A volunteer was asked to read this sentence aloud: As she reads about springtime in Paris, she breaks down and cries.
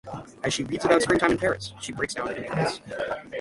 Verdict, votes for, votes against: rejected, 0, 6